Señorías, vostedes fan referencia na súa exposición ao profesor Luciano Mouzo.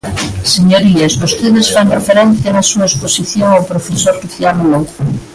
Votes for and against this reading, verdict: 1, 2, rejected